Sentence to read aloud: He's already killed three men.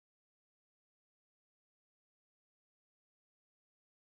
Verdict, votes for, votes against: rejected, 0, 2